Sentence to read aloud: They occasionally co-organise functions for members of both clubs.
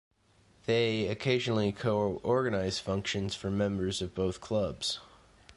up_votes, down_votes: 2, 0